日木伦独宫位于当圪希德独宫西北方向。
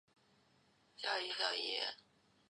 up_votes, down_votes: 1, 6